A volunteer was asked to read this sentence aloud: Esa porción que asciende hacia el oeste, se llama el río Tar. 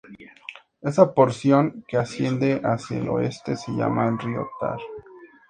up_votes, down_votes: 2, 0